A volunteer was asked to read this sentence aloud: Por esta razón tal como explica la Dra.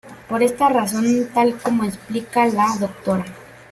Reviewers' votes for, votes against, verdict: 2, 1, accepted